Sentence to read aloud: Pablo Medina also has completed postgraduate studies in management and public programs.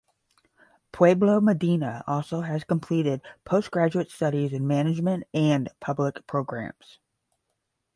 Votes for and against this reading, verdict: 5, 5, rejected